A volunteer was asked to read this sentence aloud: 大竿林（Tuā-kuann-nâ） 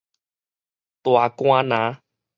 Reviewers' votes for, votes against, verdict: 4, 0, accepted